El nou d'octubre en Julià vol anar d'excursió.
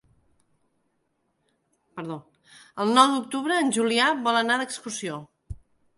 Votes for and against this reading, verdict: 1, 3, rejected